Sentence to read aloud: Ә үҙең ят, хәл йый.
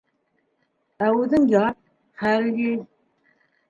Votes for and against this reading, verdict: 1, 2, rejected